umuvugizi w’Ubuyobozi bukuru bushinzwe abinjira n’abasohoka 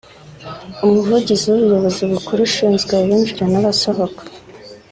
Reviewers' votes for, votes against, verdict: 3, 0, accepted